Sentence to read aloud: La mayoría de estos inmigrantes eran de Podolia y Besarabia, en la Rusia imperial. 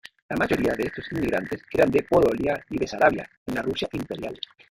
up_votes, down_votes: 0, 2